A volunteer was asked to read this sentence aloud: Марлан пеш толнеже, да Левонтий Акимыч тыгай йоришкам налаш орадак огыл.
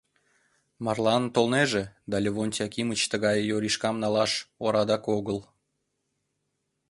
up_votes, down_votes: 0, 2